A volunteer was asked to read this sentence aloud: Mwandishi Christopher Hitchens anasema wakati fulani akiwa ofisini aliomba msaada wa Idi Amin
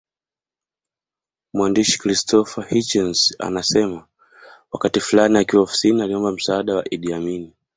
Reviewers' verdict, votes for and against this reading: accepted, 2, 0